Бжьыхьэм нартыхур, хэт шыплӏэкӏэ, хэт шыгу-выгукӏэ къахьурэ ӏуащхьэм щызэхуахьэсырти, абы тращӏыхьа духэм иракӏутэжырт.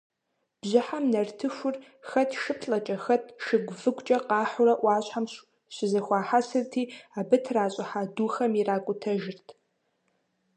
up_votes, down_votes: 0, 2